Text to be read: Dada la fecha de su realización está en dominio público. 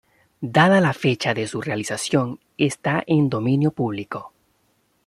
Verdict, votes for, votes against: accepted, 2, 1